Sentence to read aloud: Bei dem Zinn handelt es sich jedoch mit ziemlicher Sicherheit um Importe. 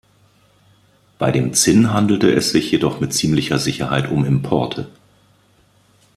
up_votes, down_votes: 1, 2